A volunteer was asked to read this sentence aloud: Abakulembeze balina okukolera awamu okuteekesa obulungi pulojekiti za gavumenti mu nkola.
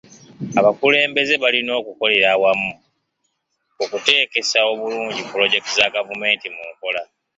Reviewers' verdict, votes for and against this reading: accepted, 2, 0